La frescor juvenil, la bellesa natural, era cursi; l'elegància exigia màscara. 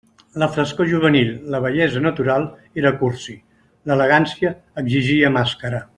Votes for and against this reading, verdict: 2, 0, accepted